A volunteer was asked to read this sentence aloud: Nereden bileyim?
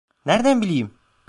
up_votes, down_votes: 1, 2